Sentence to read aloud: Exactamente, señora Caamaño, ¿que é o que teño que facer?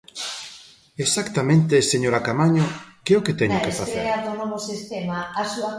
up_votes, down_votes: 0, 2